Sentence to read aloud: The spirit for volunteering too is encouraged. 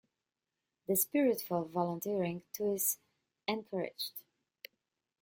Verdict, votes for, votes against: rejected, 1, 2